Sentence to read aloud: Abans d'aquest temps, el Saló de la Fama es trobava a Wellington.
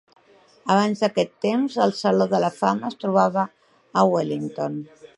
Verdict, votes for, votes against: accepted, 4, 0